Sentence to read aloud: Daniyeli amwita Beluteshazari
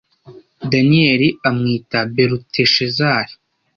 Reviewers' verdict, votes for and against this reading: accepted, 2, 0